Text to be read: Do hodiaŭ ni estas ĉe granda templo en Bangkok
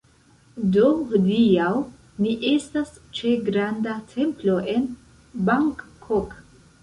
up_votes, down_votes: 0, 2